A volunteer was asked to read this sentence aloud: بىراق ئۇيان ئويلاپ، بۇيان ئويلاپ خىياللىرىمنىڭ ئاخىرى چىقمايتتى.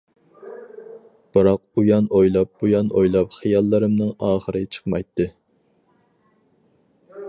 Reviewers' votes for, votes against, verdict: 4, 0, accepted